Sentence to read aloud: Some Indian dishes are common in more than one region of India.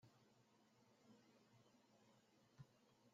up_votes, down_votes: 0, 2